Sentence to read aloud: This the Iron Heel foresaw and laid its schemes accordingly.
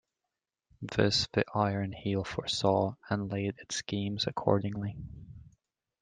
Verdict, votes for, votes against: accepted, 2, 0